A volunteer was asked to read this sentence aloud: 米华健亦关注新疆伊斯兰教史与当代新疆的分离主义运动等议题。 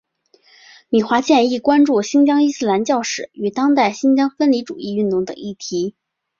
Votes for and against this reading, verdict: 2, 0, accepted